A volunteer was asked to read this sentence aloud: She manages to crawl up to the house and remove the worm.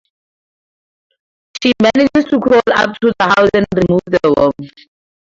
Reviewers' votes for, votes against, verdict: 4, 0, accepted